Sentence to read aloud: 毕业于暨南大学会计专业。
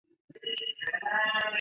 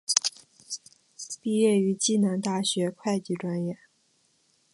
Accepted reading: second